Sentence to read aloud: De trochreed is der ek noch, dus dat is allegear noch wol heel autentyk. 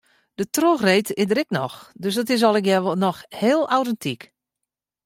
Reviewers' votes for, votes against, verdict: 0, 2, rejected